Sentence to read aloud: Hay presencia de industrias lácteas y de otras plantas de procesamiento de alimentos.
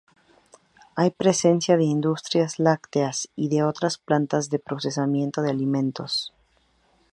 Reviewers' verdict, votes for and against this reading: accepted, 2, 0